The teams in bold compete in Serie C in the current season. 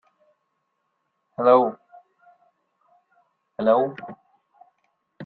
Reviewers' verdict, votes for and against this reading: rejected, 0, 2